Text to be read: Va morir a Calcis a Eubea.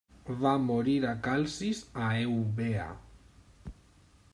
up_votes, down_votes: 0, 2